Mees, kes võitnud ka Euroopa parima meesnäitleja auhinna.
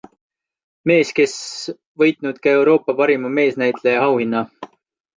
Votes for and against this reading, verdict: 2, 0, accepted